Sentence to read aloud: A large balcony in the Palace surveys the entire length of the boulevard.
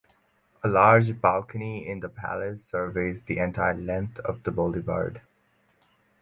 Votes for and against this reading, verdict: 4, 0, accepted